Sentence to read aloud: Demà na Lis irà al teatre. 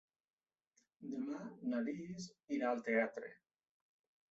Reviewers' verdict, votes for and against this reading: rejected, 0, 2